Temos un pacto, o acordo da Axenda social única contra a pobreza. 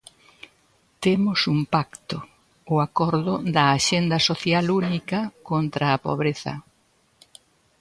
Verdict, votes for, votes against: accepted, 2, 0